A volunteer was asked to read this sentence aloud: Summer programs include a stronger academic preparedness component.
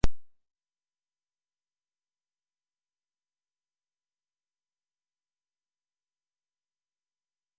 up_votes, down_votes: 0, 2